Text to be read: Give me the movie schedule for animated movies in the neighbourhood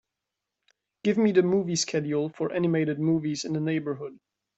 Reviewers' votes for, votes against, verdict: 2, 0, accepted